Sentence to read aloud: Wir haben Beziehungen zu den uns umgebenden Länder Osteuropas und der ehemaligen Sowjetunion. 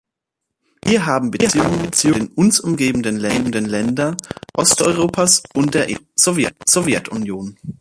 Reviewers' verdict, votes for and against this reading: rejected, 0, 2